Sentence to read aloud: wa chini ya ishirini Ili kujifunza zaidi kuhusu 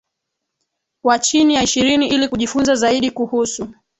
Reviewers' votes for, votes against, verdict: 21, 3, accepted